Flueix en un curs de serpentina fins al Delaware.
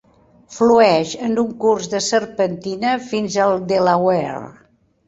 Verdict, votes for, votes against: accepted, 4, 0